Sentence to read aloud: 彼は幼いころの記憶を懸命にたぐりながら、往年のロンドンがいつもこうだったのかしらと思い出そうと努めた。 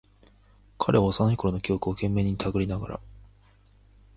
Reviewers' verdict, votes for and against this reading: rejected, 0, 2